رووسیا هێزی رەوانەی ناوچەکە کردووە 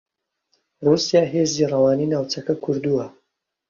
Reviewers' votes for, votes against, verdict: 1, 2, rejected